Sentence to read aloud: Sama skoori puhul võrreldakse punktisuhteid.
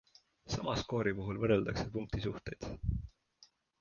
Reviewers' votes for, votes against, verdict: 2, 0, accepted